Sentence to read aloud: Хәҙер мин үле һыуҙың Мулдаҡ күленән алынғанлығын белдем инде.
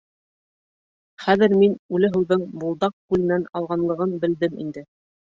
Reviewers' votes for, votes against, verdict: 1, 3, rejected